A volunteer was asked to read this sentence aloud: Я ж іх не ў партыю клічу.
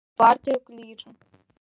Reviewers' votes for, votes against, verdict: 0, 2, rejected